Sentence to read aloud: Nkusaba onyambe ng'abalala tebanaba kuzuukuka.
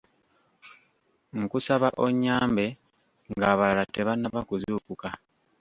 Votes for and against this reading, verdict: 3, 1, accepted